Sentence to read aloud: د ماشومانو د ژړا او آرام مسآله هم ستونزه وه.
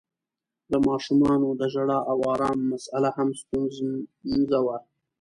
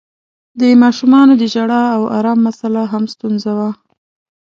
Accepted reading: second